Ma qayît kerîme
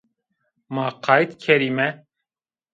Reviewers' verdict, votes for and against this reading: accepted, 2, 0